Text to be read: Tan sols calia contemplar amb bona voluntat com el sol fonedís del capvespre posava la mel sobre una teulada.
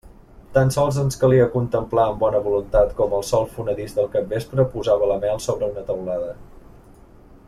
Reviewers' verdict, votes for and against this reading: rejected, 1, 2